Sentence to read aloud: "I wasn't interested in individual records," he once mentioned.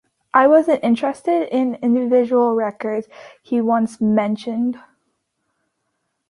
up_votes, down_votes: 3, 0